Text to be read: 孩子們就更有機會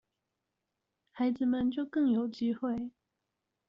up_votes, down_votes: 2, 0